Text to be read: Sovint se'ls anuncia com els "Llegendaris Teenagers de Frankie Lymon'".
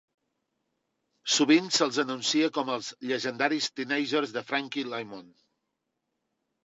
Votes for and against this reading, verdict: 2, 0, accepted